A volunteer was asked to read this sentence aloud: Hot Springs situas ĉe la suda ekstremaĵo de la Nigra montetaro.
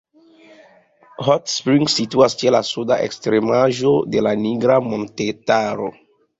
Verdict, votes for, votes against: rejected, 1, 2